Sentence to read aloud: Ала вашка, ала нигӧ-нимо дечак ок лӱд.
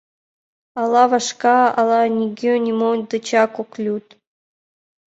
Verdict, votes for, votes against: accepted, 2, 1